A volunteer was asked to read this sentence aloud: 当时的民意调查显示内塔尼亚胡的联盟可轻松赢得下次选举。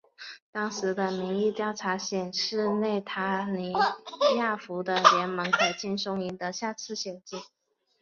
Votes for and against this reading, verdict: 3, 0, accepted